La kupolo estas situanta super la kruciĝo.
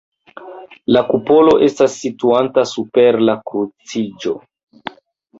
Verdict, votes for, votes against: accepted, 2, 0